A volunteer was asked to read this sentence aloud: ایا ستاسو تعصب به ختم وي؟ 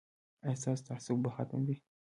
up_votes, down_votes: 2, 1